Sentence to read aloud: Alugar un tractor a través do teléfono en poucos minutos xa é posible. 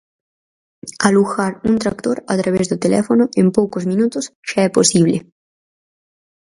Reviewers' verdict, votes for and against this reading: accepted, 4, 0